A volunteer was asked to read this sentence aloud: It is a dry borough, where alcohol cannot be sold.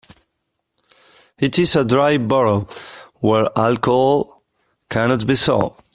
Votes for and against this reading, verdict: 2, 0, accepted